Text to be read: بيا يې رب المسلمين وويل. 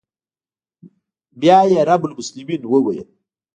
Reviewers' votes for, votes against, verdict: 1, 2, rejected